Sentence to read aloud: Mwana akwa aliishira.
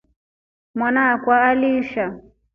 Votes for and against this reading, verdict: 1, 2, rejected